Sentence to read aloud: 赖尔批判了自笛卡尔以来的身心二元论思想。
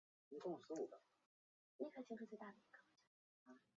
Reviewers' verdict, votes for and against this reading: rejected, 2, 3